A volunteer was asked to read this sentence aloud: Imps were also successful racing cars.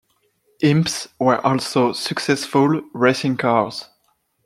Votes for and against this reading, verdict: 2, 0, accepted